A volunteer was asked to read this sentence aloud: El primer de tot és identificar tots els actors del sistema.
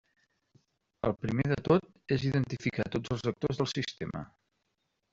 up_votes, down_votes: 1, 2